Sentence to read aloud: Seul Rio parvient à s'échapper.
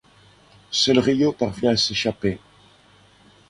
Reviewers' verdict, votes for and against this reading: accepted, 2, 0